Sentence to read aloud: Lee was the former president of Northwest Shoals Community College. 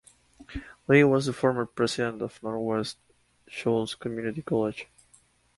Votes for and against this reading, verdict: 4, 2, accepted